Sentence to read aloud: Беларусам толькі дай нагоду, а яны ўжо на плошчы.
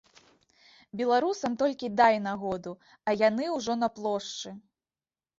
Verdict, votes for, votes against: accepted, 2, 0